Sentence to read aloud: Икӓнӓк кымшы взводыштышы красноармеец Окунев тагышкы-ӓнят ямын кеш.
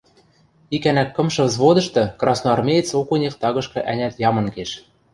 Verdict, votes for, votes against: rejected, 1, 2